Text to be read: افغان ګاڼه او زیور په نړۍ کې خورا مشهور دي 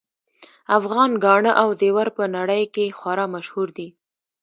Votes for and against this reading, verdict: 2, 0, accepted